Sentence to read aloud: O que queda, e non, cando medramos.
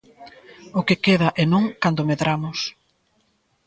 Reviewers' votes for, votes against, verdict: 0, 2, rejected